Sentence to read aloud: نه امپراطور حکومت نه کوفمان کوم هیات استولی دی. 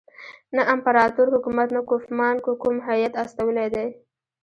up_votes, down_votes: 1, 2